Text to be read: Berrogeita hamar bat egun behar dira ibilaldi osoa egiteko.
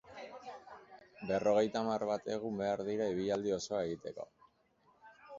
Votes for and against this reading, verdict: 3, 1, accepted